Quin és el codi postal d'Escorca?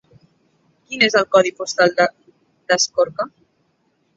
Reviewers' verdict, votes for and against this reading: rejected, 1, 2